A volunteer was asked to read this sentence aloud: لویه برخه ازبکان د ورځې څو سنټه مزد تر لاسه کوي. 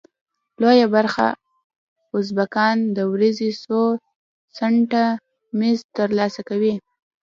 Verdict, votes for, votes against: accepted, 2, 0